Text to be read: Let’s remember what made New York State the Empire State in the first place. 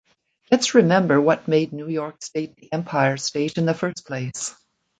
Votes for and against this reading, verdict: 2, 0, accepted